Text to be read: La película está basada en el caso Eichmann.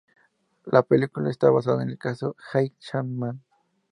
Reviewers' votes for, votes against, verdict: 4, 0, accepted